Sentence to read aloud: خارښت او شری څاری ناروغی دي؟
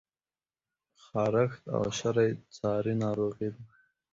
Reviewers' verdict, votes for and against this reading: rejected, 0, 2